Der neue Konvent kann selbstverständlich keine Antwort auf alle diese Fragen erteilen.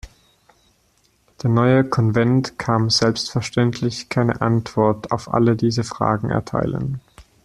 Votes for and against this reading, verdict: 2, 1, accepted